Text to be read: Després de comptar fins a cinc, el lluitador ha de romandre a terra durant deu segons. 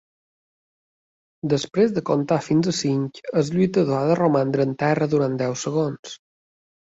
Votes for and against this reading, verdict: 0, 2, rejected